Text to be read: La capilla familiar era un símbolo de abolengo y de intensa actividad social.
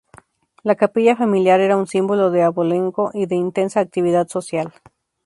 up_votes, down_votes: 2, 0